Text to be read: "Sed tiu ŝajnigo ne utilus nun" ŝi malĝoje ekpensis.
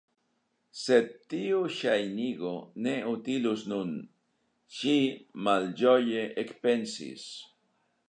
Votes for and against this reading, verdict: 2, 1, accepted